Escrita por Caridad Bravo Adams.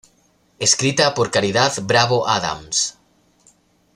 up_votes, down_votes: 2, 0